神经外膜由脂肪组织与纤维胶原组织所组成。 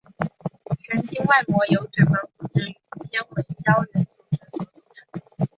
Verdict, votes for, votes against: rejected, 0, 2